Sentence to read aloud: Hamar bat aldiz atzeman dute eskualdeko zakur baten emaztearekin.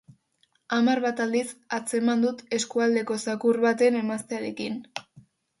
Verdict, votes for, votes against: rejected, 2, 2